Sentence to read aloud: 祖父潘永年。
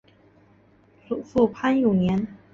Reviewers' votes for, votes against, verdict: 2, 1, accepted